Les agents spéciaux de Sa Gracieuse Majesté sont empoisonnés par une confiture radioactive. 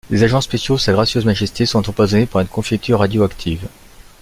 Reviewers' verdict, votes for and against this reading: rejected, 0, 2